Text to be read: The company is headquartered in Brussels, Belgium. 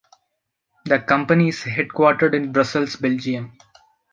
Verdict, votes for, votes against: accepted, 2, 0